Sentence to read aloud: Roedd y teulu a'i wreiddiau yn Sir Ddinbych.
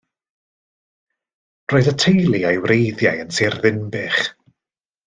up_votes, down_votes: 2, 0